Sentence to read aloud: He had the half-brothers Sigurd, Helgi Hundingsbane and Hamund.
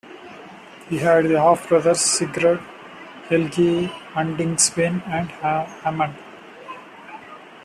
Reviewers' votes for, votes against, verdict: 1, 2, rejected